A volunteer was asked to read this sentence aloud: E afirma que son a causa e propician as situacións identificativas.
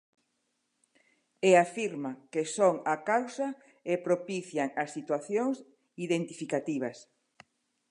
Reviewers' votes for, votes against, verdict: 2, 0, accepted